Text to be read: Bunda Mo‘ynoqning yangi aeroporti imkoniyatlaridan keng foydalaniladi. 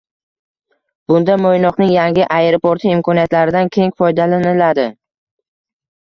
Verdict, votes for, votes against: accepted, 2, 0